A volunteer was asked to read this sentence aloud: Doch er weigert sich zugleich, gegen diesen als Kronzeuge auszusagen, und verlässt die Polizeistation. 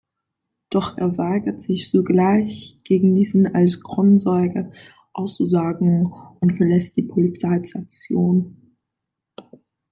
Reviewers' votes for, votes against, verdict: 0, 2, rejected